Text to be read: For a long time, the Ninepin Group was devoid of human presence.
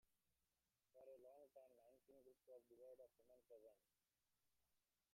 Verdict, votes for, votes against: rejected, 0, 3